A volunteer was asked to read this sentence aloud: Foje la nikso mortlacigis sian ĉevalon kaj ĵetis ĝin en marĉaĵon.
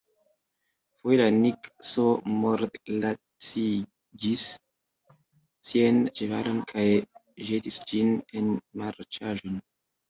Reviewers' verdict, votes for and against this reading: rejected, 1, 2